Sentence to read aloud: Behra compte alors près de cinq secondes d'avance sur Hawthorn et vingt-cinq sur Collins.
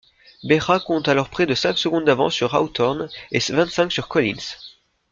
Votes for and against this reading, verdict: 2, 1, accepted